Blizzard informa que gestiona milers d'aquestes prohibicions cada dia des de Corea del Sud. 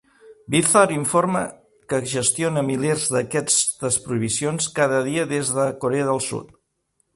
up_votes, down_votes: 1, 2